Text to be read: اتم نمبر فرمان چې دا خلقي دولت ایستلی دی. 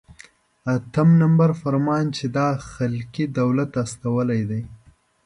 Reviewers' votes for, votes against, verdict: 1, 2, rejected